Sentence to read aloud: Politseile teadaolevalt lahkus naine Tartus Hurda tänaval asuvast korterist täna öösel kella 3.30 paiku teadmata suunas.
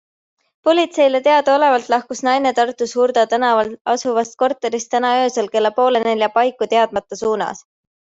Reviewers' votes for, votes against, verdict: 0, 2, rejected